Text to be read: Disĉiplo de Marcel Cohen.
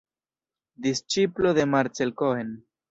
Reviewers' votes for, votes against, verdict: 1, 2, rejected